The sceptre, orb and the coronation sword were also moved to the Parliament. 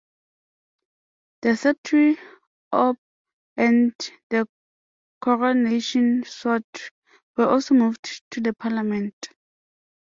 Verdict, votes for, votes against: rejected, 0, 2